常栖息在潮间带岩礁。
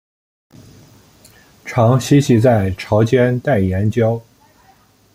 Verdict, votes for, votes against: accepted, 2, 1